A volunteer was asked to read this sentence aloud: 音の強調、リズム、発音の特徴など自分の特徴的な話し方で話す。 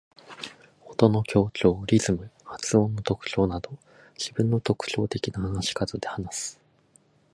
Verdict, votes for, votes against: rejected, 2, 4